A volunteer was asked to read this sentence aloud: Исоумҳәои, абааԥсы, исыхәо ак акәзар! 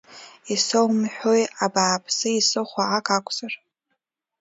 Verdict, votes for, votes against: accepted, 2, 1